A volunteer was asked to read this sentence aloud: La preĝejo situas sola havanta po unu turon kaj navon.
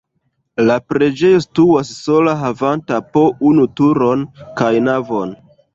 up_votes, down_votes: 0, 2